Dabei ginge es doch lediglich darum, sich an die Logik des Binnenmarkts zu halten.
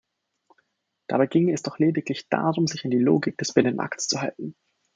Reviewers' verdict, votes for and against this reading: accepted, 2, 0